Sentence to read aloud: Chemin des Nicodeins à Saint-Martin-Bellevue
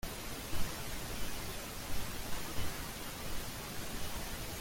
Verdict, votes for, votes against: rejected, 0, 2